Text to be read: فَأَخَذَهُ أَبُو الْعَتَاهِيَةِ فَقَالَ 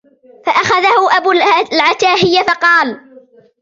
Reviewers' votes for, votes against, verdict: 2, 1, accepted